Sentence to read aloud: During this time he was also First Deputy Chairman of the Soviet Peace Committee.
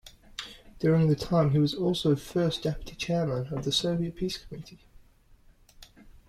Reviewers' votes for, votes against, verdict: 2, 1, accepted